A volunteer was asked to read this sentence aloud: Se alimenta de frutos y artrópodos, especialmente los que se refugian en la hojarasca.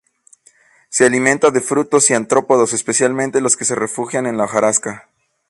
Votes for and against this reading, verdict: 0, 2, rejected